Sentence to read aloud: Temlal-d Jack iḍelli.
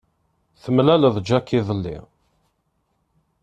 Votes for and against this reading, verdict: 1, 2, rejected